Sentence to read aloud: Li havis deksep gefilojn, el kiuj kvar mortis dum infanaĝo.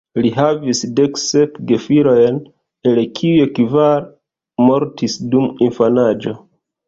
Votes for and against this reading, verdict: 2, 1, accepted